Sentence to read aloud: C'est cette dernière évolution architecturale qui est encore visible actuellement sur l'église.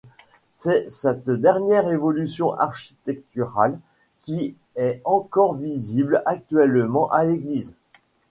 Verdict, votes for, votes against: rejected, 1, 2